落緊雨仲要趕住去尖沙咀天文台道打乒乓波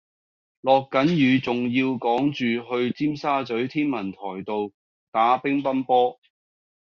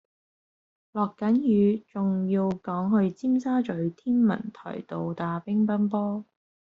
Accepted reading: first